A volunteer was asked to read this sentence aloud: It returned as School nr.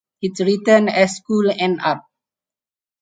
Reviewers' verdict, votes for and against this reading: accepted, 4, 0